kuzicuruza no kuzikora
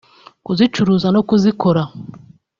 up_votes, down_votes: 2, 0